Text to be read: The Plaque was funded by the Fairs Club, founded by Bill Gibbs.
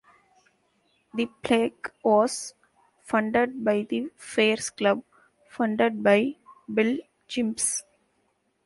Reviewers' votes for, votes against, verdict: 0, 2, rejected